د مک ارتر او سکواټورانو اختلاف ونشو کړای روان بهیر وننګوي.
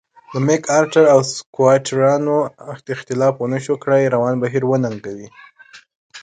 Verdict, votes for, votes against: accepted, 3, 0